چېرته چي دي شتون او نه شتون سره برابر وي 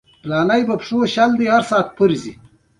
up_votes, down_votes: 2, 1